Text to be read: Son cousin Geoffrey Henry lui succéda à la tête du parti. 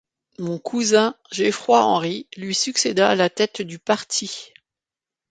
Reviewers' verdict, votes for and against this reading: rejected, 1, 2